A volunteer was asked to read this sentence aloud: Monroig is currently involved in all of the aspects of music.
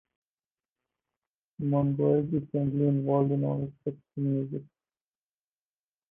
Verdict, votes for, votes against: accepted, 2, 0